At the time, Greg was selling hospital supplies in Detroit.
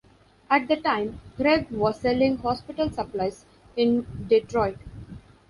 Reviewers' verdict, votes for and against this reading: accepted, 2, 0